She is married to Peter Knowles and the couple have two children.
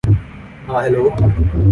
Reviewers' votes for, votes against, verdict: 0, 2, rejected